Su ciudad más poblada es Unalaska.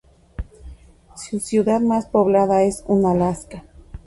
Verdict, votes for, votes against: rejected, 0, 2